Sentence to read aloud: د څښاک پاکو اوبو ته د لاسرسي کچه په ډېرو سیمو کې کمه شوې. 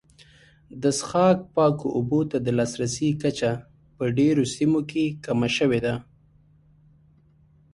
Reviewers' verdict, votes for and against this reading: rejected, 1, 2